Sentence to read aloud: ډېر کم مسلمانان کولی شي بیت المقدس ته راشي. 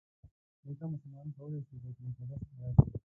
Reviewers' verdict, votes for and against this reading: rejected, 0, 2